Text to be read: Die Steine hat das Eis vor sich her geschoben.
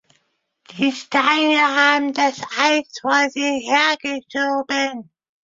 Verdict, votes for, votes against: rejected, 0, 2